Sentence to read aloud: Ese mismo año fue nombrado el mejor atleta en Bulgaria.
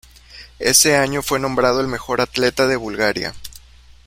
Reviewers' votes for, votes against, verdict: 1, 2, rejected